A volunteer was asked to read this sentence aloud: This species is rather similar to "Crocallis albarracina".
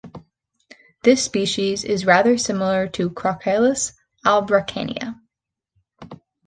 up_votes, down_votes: 2, 0